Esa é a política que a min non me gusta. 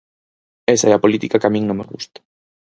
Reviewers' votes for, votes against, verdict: 4, 0, accepted